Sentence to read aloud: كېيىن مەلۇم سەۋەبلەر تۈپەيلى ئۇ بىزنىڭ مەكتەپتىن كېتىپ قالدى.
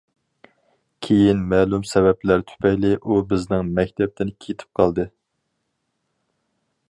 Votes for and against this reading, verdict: 4, 0, accepted